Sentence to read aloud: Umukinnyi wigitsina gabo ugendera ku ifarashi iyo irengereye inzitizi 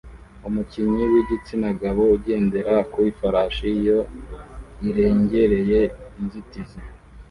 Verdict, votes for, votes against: rejected, 1, 2